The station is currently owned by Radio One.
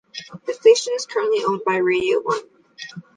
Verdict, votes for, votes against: accepted, 2, 0